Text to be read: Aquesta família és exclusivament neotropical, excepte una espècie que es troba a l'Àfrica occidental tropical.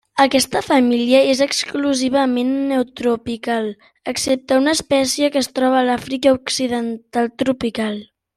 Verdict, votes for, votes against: accepted, 3, 0